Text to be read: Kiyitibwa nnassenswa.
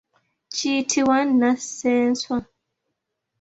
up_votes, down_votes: 2, 0